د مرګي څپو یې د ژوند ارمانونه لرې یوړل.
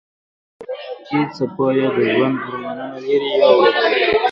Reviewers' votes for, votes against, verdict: 1, 2, rejected